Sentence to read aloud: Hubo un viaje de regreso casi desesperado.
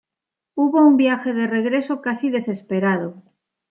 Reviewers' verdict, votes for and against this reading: accepted, 2, 0